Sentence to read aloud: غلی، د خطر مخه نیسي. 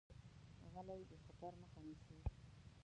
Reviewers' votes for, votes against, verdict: 0, 2, rejected